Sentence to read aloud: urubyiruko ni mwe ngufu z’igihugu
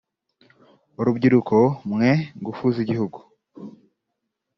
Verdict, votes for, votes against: rejected, 0, 2